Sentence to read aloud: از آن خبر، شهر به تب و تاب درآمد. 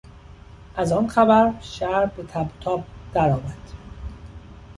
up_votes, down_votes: 0, 2